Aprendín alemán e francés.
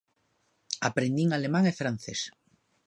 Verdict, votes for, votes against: accepted, 2, 0